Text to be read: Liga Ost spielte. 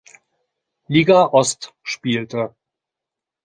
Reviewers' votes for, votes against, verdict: 2, 0, accepted